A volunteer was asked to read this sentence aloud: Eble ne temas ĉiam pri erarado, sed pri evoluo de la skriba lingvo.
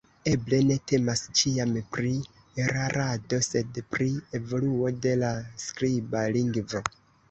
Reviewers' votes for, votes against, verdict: 2, 1, accepted